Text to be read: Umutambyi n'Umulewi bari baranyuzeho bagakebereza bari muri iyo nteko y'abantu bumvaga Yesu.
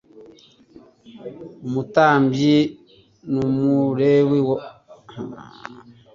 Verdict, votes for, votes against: rejected, 0, 2